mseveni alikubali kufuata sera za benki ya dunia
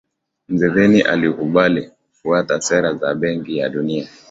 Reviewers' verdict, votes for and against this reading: accepted, 2, 1